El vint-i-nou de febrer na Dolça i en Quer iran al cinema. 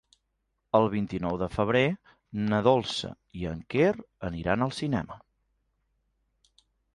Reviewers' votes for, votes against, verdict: 0, 2, rejected